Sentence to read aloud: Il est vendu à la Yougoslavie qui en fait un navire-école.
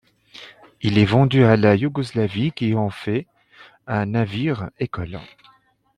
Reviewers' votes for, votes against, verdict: 2, 0, accepted